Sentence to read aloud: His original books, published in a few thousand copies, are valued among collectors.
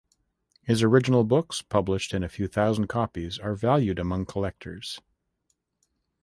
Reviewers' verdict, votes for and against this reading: accepted, 2, 0